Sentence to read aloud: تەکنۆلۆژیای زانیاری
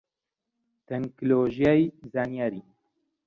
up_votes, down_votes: 1, 2